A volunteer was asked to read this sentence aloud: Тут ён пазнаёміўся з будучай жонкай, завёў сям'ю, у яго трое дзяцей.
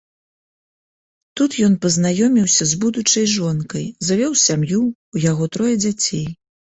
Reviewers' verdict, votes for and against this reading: accepted, 3, 0